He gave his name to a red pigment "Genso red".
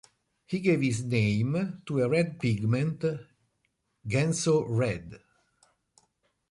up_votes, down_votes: 2, 0